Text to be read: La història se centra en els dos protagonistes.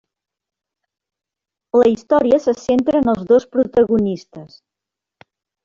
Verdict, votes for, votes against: accepted, 4, 2